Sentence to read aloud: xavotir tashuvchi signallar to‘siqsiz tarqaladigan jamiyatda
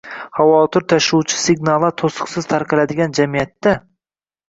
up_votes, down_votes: 1, 2